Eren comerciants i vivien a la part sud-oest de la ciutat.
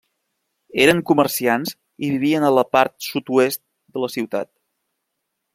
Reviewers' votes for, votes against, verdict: 3, 0, accepted